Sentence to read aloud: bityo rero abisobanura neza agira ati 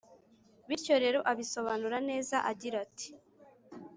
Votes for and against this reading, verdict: 2, 0, accepted